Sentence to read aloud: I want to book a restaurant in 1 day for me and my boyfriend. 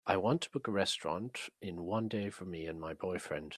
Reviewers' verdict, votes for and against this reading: rejected, 0, 2